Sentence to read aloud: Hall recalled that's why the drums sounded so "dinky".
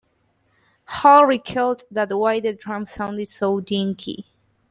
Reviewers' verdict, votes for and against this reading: rejected, 0, 2